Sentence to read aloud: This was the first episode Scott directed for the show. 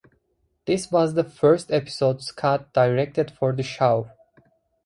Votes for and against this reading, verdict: 2, 0, accepted